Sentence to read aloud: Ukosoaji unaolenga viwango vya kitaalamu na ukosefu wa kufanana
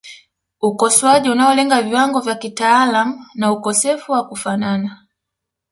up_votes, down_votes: 3, 0